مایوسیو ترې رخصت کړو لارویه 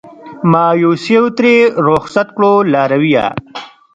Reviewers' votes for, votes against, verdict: 0, 2, rejected